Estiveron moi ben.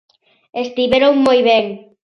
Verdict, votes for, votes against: accepted, 2, 0